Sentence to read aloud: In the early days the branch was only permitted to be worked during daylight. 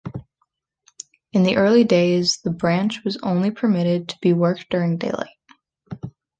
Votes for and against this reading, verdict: 2, 0, accepted